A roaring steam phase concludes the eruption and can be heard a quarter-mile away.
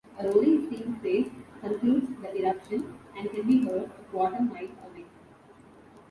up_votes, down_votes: 1, 2